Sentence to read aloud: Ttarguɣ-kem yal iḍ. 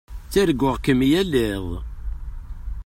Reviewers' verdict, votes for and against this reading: accepted, 2, 0